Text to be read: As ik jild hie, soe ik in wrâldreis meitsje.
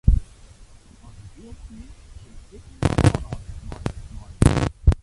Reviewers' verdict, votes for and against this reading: rejected, 0, 2